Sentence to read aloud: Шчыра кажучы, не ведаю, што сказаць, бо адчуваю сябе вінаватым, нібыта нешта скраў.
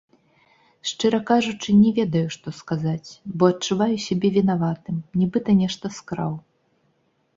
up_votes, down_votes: 1, 3